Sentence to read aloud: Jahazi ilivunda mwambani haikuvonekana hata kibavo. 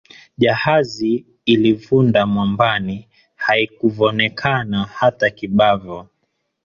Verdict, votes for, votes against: accepted, 2, 1